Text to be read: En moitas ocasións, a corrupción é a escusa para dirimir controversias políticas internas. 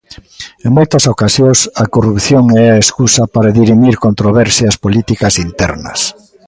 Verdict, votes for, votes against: rejected, 0, 2